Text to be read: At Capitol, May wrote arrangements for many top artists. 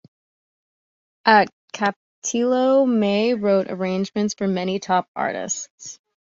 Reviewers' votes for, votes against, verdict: 1, 2, rejected